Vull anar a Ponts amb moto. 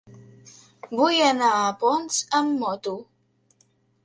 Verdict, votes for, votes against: accepted, 4, 0